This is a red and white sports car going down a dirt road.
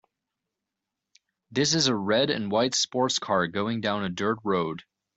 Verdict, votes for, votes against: accepted, 2, 0